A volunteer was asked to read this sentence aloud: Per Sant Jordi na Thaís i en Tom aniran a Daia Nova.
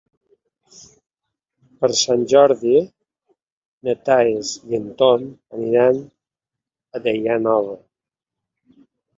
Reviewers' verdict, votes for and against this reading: rejected, 1, 2